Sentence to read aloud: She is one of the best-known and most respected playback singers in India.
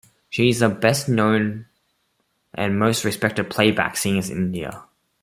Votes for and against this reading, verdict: 0, 2, rejected